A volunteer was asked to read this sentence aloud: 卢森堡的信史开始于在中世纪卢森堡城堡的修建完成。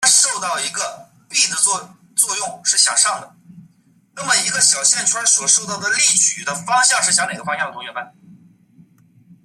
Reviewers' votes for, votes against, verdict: 0, 2, rejected